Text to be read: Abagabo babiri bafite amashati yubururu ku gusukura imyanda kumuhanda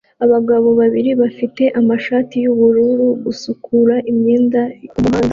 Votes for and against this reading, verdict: 0, 2, rejected